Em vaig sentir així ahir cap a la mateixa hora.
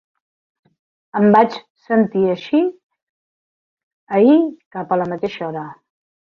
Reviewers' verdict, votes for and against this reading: accepted, 2, 1